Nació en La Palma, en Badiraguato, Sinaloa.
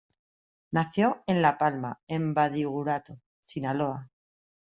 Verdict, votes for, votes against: rejected, 1, 2